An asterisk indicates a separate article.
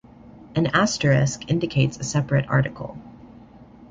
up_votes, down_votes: 0, 2